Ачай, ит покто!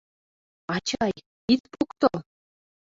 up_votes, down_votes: 2, 1